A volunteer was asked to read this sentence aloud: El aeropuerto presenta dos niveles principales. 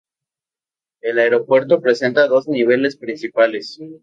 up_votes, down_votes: 4, 0